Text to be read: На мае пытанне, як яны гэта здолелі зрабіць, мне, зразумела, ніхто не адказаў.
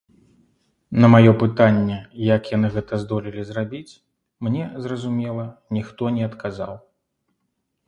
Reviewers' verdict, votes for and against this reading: accepted, 2, 0